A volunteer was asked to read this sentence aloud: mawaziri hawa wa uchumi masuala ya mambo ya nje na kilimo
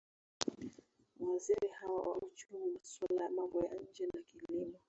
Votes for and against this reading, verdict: 2, 1, accepted